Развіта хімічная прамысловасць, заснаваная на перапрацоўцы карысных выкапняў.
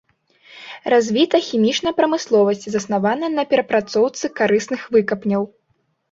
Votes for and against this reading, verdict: 2, 0, accepted